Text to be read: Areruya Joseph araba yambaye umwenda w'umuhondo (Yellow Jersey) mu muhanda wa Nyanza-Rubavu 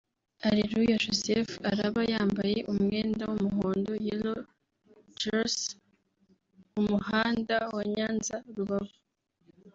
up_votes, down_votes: 2, 0